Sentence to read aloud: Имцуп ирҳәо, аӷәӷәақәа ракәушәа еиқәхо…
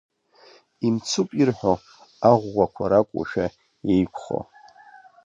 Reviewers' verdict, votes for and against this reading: rejected, 0, 2